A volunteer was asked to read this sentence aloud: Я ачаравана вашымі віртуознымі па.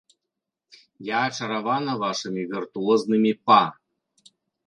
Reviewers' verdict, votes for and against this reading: accepted, 2, 0